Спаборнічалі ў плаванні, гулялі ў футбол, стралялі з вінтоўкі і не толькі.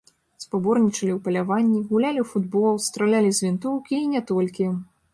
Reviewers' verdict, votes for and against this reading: rejected, 0, 2